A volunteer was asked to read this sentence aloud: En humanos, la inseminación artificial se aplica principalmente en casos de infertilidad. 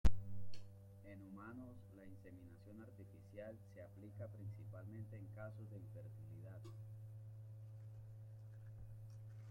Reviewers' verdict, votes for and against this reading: rejected, 0, 2